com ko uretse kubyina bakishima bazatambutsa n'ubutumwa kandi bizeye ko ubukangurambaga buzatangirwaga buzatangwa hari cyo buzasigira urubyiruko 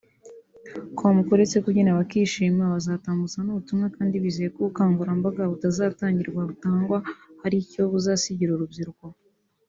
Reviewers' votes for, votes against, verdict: 1, 2, rejected